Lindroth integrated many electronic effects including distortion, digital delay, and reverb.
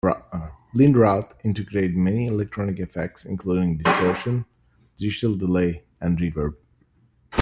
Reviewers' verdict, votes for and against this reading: rejected, 0, 2